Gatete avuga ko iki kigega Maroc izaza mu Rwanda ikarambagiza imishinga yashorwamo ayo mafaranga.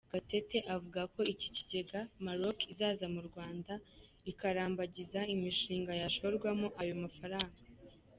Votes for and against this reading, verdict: 2, 0, accepted